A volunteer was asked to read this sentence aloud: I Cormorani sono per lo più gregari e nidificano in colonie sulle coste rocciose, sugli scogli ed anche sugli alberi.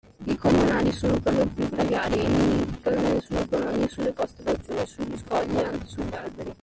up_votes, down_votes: 0, 2